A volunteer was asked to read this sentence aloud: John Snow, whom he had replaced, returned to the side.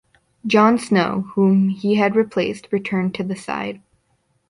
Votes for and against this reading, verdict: 2, 0, accepted